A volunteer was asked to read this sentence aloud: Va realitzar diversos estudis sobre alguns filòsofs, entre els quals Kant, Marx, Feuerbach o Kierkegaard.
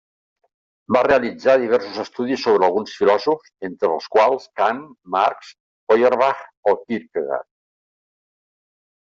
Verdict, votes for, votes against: rejected, 0, 2